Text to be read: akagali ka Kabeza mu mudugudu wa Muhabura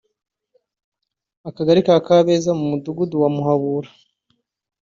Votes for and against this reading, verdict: 2, 0, accepted